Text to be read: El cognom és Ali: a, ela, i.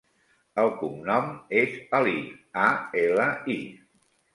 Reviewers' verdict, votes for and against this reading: accepted, 3, 1